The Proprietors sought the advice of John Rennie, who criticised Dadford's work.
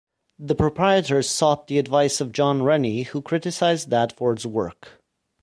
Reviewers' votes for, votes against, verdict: 2, 0, accepted